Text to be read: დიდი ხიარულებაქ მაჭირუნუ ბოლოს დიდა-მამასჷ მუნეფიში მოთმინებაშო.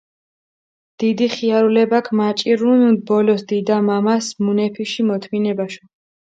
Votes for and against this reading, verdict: 0, 4, rejected